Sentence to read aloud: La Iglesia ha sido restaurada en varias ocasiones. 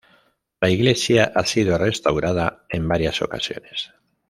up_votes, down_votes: 2, 0